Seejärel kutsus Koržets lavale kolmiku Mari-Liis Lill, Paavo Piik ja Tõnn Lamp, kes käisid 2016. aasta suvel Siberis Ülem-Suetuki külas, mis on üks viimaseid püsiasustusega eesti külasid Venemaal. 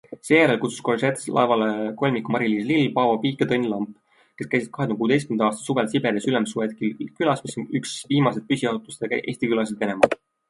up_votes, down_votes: 0, 2